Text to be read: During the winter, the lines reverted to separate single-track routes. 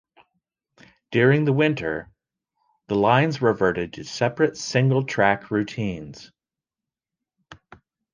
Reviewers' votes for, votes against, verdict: 0, 2, rejected